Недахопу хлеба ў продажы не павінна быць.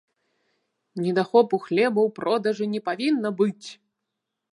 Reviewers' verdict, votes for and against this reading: accepted, 2, 0